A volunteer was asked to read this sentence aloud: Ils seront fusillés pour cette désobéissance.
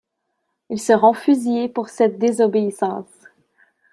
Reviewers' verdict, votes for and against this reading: accepted, 2, 0